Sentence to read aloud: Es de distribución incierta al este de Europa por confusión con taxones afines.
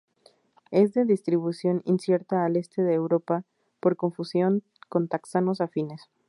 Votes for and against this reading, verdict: 0, 2, rejected